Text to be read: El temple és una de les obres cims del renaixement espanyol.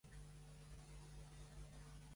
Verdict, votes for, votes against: rejected, 1, 2